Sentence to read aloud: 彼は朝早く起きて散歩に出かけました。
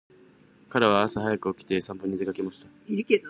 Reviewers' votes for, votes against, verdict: 2, 0, accepted